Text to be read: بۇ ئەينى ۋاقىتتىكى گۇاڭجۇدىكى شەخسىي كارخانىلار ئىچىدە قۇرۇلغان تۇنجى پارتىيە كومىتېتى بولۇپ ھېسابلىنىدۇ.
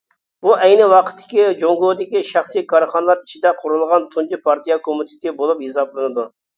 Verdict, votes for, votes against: rejected, 0, 2